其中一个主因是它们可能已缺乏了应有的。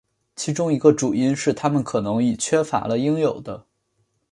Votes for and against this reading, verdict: 1, 2, rejected